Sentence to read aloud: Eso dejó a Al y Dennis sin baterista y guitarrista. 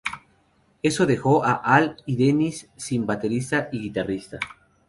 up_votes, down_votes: 0, 2